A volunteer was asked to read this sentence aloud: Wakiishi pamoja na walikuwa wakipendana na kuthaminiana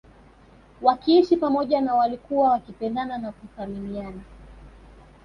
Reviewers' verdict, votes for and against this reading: accepted, 2, 0